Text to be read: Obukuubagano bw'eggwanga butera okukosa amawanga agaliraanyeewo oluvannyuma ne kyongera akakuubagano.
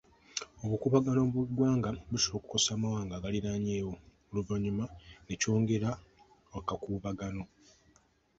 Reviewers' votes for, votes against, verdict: 1, 2, rejected